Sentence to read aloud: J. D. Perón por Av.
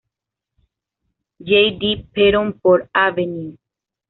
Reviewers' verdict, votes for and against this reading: rejected, 1, 2